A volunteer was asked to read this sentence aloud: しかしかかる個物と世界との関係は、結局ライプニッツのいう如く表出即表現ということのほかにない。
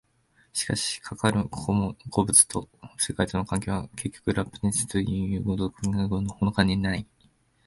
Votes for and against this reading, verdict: 0, 2, rejected